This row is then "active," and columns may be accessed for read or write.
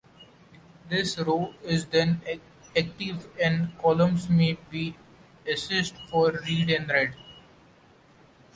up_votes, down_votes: 1, 2